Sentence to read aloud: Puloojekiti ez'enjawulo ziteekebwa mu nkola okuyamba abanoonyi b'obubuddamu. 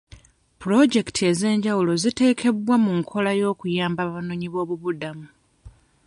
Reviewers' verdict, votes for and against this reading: rejected, 1, 2